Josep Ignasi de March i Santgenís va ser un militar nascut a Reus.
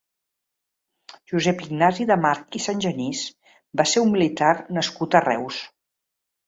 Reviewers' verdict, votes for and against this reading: accepted, 2, 0